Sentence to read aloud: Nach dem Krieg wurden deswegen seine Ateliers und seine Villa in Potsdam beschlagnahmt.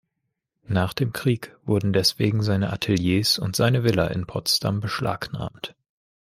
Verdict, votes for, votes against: accepted, 2, 0